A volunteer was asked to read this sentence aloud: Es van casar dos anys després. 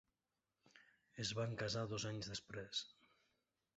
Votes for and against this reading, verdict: 1, 2, rejected